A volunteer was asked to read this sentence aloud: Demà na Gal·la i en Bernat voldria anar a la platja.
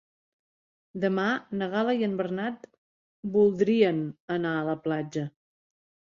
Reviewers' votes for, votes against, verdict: 0, 2, rejected